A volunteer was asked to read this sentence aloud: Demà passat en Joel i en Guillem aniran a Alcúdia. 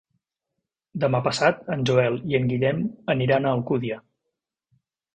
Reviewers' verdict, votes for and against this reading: accepted, 2, 0